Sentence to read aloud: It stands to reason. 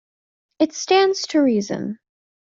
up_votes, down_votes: 2, 0